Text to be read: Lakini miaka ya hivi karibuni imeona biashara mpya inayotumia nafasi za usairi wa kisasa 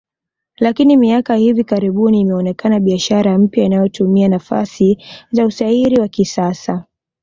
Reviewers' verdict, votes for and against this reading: rejected, 0, 2